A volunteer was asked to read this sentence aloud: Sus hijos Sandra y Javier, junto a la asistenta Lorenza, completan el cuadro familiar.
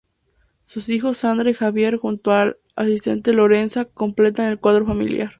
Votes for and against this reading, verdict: 0, 2, rejected